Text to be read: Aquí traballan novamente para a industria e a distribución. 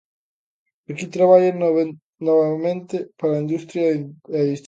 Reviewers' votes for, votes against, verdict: 0, 2, rejected